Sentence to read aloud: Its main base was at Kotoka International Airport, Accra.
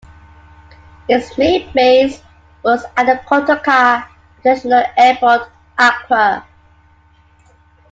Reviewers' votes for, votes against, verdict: 2, 0, accepted